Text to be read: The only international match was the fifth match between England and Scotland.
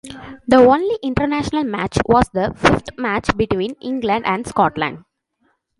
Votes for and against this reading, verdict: 0, 2, rejected